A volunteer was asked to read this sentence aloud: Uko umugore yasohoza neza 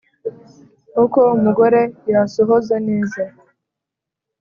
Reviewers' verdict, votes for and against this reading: accepted, 4, 0